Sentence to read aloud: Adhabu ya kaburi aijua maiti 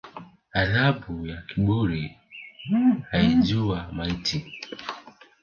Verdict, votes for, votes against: accepted, 2, 1